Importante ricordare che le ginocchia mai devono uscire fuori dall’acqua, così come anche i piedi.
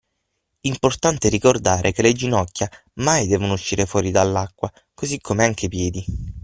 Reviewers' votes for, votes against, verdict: 3, 6, rejected